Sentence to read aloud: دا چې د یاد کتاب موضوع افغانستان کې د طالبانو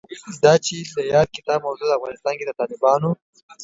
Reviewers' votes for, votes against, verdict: 2, 0, accepted